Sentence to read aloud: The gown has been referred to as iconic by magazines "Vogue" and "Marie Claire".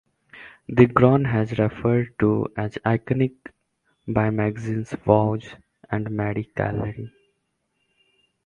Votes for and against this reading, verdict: 0, 2, rejected